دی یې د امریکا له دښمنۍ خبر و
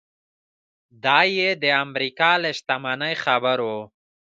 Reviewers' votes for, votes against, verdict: 0, 2, rejected